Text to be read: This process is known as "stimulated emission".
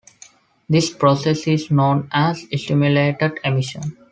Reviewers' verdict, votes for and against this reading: accepted, 2, 0